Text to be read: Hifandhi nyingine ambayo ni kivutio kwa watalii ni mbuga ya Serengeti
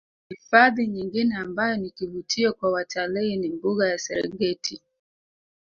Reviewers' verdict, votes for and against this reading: accepted, 5, 1